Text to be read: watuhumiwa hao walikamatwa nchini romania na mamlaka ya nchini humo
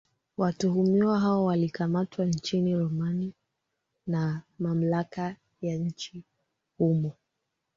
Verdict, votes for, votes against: rejected, 1, 2